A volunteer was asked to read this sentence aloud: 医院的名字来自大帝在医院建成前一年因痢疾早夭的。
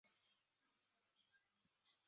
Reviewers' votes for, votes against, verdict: 0, 4, rejected